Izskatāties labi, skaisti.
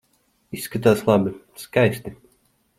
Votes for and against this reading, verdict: 2, 0, accepted